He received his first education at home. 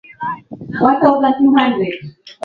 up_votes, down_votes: 0, 4